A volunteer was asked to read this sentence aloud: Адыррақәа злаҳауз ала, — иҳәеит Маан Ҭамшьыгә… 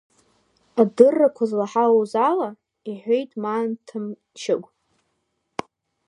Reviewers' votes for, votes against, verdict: 2, 1, accepted